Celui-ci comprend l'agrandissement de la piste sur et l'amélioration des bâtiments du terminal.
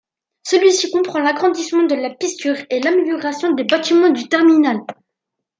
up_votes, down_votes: 2, 0